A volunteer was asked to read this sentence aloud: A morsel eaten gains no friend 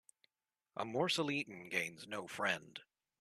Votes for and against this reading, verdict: 2, 0, accepted